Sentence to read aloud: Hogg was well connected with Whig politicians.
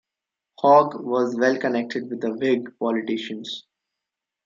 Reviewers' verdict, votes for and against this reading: accepted, 2, 0